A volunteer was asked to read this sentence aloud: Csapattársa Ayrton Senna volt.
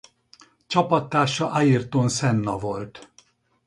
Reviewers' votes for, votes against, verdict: 4, 0, accepted